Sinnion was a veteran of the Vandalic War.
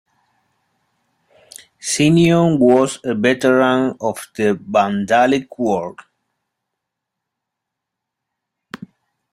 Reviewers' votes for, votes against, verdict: 2, 1, accepted